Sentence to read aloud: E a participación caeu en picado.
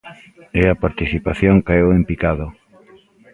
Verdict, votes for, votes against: accepted, 2, 0